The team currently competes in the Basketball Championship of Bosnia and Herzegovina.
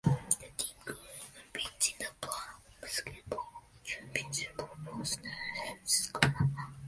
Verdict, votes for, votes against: rejected, 0, 2